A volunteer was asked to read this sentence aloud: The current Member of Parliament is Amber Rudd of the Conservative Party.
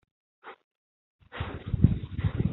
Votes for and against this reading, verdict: 0, 3, rejected